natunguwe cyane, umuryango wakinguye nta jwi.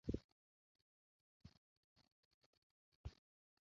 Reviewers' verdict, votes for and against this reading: rejected, 0, 2